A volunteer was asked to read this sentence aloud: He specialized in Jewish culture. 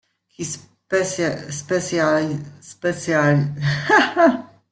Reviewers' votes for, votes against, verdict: 0, 2, rejected